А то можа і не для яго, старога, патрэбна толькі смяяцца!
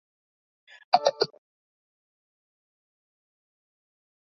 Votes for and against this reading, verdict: 0, 2, rejected